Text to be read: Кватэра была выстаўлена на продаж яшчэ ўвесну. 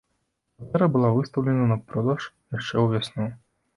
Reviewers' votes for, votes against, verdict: 0, 2, rejected